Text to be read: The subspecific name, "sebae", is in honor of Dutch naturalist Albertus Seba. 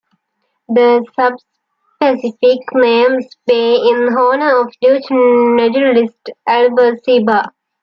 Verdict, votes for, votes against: rejected, 1, 2